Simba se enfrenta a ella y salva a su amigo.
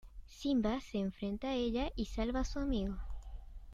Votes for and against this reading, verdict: 2, 0, accepted